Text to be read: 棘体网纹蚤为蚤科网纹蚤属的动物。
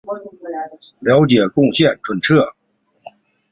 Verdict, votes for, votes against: rejected, 1, 4